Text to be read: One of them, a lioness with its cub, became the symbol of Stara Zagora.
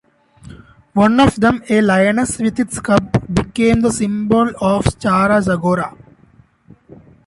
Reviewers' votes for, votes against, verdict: 2, 0, accepted